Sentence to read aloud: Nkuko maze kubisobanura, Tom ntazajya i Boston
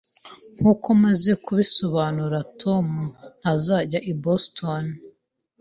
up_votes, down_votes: 2, 0